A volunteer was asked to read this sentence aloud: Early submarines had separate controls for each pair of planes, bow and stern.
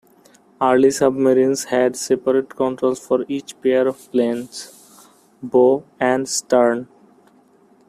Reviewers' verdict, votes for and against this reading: rejected, 0, 2